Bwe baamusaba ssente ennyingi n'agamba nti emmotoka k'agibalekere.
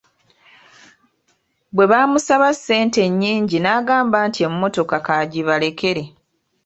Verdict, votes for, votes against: accepted, 3, 1